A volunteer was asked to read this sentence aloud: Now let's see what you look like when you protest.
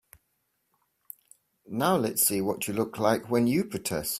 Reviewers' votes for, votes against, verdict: 3, 0, accepted